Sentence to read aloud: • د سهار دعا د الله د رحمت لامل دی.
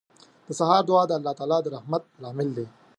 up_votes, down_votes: 1, 2